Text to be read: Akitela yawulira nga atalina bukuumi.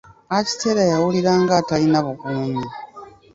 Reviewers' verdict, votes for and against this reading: accepted, 2, 1